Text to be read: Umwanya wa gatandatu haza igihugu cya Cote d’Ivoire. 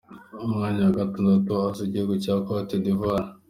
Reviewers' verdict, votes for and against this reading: accepted, 2, 1